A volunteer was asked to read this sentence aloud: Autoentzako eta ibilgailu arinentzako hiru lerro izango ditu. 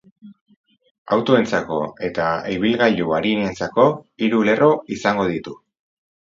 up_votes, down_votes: 6, 0